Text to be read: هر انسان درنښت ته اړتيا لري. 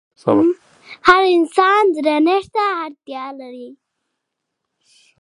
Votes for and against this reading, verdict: 3, 0, accepted